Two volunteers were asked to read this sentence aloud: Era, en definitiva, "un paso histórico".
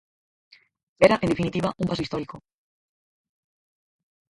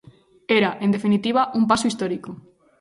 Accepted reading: second